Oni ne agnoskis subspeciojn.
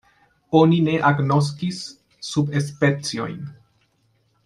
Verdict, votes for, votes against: rejected, 0, 2